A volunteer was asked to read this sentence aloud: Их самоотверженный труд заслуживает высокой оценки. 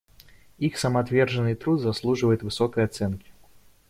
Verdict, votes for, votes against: accepted, 2, 0